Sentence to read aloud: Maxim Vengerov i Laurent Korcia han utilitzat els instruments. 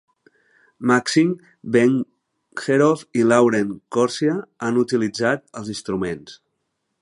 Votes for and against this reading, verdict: 1, 2, rejected